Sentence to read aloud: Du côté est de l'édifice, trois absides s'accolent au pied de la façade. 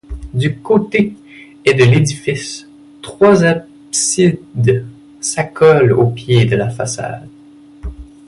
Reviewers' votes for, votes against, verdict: 0, 2, rejected